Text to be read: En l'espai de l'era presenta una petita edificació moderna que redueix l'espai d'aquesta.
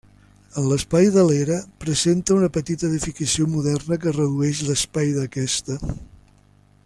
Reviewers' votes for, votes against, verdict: 3, 0, accepted